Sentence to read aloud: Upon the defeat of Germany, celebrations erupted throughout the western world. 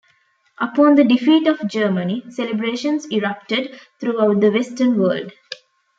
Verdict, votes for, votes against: rejected, 0, 2